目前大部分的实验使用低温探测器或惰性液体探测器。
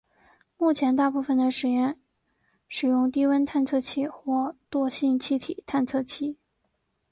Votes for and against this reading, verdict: 2, 0, accepted